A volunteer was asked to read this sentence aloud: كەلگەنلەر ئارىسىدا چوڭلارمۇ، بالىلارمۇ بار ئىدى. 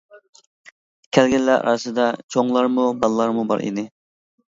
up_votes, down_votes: 2, 0